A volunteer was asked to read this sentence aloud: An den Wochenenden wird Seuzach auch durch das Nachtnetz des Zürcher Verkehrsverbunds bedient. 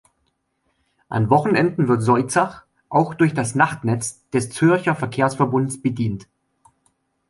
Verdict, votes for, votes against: rejected, 0, 2